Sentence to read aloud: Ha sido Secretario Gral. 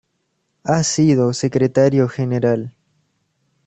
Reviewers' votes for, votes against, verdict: 2, 0, accepted